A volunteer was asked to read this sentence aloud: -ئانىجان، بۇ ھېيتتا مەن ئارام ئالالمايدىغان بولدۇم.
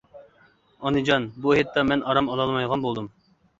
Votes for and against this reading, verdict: 2, 0, accepted